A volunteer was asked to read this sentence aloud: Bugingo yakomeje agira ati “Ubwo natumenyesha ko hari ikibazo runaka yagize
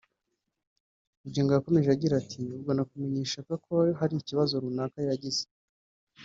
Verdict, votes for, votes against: rejected, 0, 2